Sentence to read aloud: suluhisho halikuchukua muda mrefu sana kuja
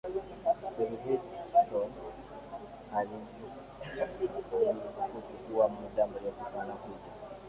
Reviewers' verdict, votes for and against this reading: rejected, 0, 2